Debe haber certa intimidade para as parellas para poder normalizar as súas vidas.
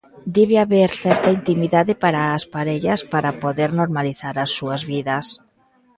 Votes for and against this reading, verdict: 2, 0, accepted